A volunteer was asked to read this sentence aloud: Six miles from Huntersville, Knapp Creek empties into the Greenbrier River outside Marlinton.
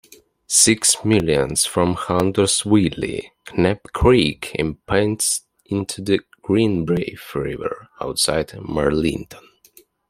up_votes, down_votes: 0, 2